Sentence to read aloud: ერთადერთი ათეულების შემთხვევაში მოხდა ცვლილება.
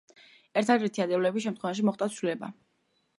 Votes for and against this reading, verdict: 3, 2, accepted